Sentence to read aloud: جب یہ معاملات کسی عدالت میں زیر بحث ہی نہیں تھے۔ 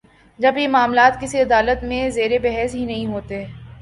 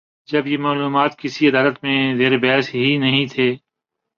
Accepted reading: first